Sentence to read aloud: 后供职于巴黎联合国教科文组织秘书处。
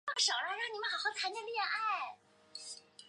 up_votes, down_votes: 0, 3